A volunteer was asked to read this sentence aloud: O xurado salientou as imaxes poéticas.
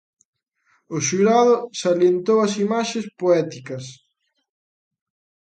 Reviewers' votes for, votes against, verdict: 2, 0, accepted